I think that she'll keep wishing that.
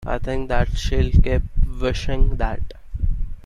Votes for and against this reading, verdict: 2, 0, accepted